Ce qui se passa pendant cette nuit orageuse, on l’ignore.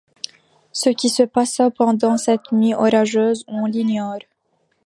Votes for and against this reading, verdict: 3, 0, accepted